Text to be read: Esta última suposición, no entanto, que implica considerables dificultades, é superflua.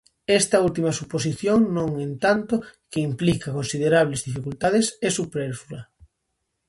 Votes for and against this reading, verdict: 0, 2, rejected